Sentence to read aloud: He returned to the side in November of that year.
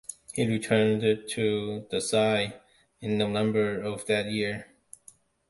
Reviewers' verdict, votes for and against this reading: rejected, 1, 2